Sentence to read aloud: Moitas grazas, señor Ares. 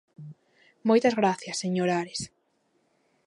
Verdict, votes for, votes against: rejected, 0, 2